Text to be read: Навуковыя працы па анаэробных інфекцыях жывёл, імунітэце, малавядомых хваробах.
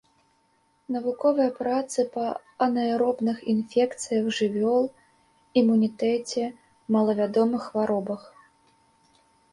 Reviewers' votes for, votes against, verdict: 2, 0, accepted